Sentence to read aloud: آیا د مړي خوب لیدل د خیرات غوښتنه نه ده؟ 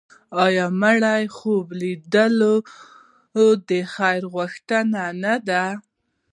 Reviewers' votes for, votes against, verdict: 2, 1, accepted